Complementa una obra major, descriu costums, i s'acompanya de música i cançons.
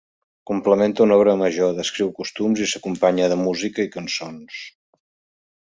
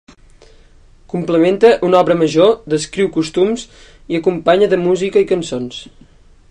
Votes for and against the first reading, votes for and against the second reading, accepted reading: 2, 0, 0, 2, first